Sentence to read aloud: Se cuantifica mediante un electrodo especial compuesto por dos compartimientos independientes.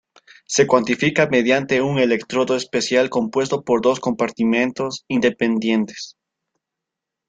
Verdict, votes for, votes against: accepted, 2, 0